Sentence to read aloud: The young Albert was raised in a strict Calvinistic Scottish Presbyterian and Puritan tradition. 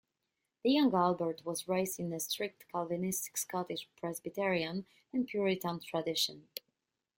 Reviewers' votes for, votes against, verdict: 2, 1, accepted